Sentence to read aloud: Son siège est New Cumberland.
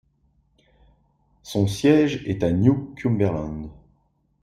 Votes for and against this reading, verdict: 1, 2, rejected